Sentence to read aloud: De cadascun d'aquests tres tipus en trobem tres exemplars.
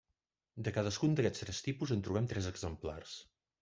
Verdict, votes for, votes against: rejected, 0, 2